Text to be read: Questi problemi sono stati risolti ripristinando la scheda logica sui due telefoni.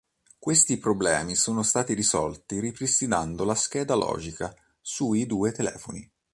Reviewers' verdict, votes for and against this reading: accepted, 2, 0